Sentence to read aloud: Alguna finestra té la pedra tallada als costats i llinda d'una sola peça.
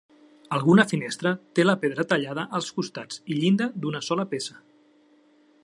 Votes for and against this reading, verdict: 3, 0, accepted